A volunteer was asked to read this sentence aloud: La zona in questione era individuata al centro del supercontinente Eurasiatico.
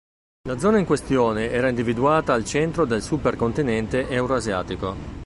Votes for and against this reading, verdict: 2, 1, accepted